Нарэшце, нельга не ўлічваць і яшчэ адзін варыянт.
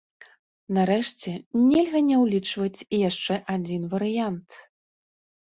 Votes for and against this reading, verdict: 2, 0, accepted